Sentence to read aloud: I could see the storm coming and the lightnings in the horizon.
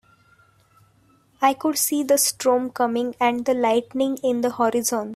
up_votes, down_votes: 2, 1